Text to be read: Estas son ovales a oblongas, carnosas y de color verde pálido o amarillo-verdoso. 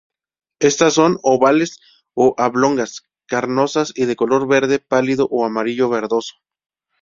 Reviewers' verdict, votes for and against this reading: rejected, 0, 2